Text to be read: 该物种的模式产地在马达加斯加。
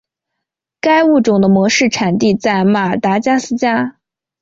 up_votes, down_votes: 8, 0